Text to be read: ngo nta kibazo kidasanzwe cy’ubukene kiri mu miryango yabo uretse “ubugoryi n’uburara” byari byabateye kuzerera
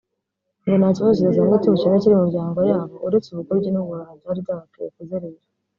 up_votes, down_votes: 2, 3